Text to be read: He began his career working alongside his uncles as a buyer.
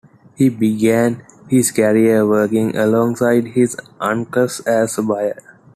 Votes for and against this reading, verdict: 2, 0, accepted